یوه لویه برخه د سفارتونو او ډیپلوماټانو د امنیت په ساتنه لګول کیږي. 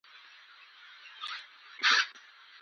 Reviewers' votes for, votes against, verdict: 0, 2, rejected